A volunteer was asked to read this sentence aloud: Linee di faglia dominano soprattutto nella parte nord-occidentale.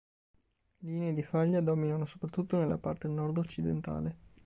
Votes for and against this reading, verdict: 2, 0, accepted